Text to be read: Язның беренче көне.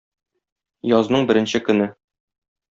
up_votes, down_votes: 2, 0